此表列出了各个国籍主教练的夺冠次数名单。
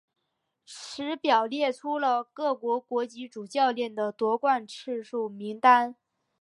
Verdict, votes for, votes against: accepted, 2, 1